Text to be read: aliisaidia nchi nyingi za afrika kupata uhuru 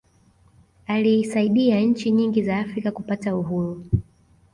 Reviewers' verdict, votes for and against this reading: accepted, 2, 0